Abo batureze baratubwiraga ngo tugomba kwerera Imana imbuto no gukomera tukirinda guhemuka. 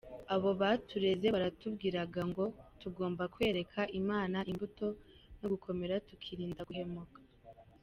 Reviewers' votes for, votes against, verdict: 2, 0, accepted